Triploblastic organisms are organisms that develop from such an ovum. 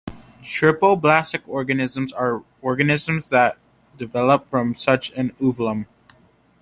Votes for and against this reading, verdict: 3, 0, accepted